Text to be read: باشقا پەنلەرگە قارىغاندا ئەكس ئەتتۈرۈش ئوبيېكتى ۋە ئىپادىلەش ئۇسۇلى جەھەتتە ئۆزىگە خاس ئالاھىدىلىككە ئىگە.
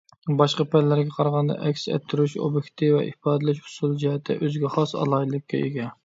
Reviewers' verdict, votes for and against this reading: accepted, 2, 0